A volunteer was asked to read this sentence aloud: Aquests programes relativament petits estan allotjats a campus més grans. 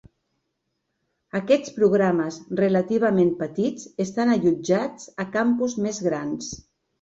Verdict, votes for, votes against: accepted, 5, 0